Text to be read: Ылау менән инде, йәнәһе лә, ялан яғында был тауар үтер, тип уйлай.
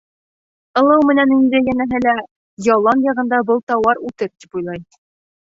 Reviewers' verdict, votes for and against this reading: rejected, 1, 2